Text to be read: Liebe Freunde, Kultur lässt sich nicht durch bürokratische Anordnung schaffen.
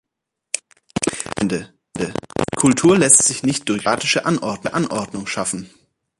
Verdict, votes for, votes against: rejected, 0, 2